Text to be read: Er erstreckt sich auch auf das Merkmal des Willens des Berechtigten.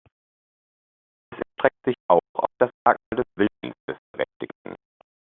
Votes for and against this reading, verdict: 0, 2, rejected